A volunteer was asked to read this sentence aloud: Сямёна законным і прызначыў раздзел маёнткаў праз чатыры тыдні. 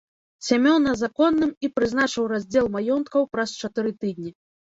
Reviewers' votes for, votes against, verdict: 2, 0, accepted